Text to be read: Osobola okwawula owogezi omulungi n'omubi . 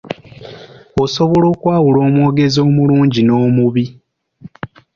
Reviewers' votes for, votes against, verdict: 2, 0, accepted